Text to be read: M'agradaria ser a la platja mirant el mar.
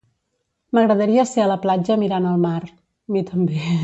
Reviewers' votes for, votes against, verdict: 0, 2, rejected